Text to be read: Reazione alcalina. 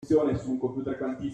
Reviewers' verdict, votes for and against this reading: rejected, 0, 2